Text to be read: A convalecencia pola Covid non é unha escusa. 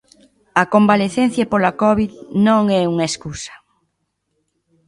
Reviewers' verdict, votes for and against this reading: accepted, 2, 0